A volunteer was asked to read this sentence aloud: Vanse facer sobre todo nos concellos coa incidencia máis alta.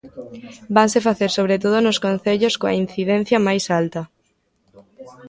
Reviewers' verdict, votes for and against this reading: rejected, 1, 2